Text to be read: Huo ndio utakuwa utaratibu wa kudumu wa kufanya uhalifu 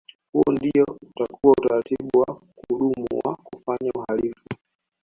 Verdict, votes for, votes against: rejected, 0, 3